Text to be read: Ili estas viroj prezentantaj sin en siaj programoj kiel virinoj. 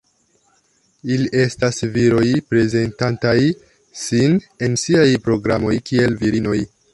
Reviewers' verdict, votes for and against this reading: accepted, 2, 0